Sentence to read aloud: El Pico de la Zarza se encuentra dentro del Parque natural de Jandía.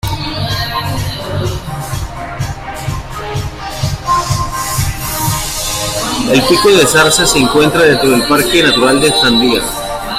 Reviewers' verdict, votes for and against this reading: rejected, 1, 2